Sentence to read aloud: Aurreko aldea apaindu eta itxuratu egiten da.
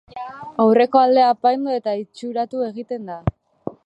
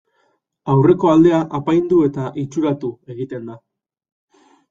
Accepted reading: second